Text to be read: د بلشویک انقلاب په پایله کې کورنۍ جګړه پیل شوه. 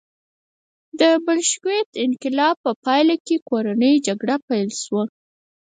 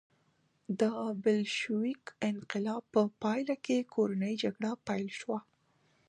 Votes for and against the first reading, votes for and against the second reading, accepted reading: 2, 4, 2, 1, second